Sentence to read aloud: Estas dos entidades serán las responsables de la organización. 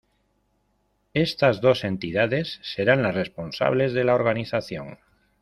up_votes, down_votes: 2, 0